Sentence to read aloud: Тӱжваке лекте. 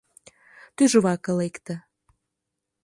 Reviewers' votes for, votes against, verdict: 2, 0, accepted